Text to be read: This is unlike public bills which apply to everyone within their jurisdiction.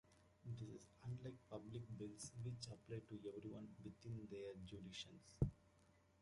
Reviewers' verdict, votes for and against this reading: rejected, 1, 2